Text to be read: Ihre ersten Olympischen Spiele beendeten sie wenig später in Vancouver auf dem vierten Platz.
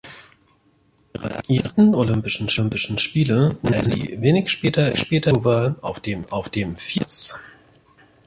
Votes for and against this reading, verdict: 0, 2, rejected